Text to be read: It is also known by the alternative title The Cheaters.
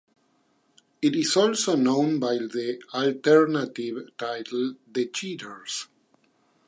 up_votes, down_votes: 2, 0